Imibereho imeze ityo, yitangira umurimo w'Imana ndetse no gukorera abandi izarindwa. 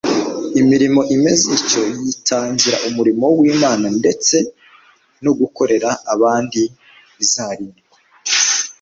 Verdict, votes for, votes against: rejected, 0, 2